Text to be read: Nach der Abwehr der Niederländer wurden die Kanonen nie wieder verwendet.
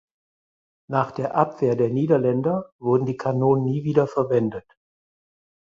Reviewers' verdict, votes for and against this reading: accepted, 4, 0